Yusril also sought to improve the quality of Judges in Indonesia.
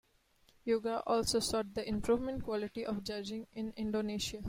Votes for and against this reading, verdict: 0, 2, rejected